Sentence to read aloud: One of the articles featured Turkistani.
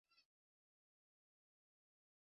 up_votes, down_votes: 0, 2